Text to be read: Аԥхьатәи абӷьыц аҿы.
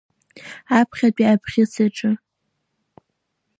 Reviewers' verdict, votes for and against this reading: accepted, 2, 1